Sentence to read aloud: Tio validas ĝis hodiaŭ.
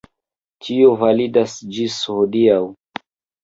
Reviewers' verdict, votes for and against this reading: accepted, 2, 0